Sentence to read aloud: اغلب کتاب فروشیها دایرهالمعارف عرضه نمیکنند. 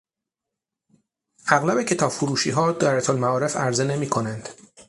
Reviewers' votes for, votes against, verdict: 6, 0, accepted